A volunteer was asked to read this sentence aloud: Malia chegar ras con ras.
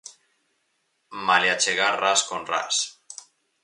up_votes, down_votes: 4, 0